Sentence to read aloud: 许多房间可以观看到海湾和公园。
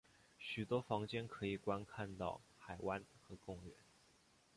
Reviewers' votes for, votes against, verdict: 3, 1, accepted